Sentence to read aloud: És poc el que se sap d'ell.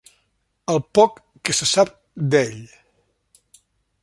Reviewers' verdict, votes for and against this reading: rejected, 1, 2